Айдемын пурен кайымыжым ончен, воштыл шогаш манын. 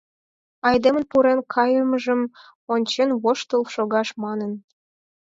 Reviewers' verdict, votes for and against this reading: accepted, 4, 0